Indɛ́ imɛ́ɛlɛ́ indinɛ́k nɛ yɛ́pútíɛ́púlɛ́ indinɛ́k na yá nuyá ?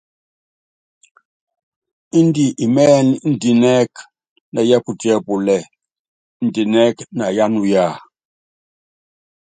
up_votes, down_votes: 2, 0